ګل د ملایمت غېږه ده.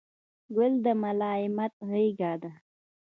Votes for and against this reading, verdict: 2, 0, accepted